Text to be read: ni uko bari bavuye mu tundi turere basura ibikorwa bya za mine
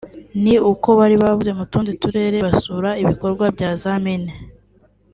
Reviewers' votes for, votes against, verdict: 2, 0, accepted